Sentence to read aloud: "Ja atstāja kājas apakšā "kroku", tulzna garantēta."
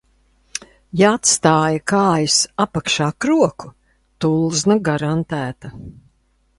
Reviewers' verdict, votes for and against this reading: accepted, 2, 0